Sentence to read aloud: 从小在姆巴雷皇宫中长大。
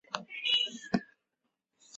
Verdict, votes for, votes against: rejected, 0, 2